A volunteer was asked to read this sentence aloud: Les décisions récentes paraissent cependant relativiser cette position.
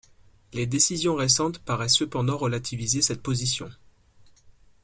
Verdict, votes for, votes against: accepted, 2, 0